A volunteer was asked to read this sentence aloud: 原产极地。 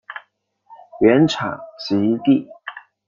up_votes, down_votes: 2, 1